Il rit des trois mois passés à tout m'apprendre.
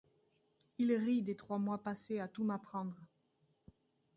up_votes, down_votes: 1, 2